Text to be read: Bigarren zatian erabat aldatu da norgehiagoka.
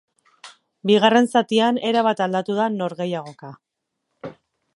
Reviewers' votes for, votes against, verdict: 2, 2, rejected